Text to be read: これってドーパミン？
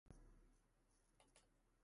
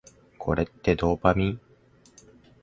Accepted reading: second